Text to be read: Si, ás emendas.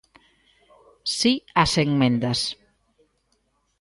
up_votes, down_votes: 1, 2